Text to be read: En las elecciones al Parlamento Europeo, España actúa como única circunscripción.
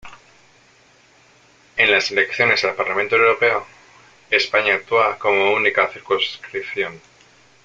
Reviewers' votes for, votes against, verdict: 1, 2, rejected